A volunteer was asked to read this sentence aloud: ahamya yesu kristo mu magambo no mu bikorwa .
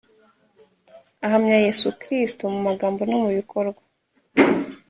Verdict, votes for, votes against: accepted, 3, 0